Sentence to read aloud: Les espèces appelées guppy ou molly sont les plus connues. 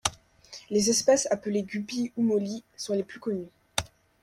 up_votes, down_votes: 2, 0